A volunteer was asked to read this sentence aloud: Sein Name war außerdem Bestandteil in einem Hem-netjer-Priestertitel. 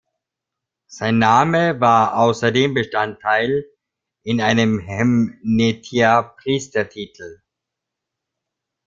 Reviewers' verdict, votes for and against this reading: rejected, 0, 2